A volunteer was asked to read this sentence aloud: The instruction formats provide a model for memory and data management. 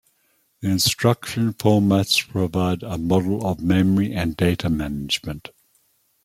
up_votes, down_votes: 0, 2